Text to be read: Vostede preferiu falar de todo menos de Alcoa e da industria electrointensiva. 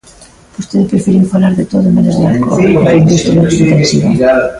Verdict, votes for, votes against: rejected, 0, 2